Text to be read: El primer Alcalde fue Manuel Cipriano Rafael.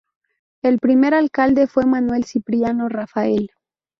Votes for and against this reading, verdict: 2, 2, rejected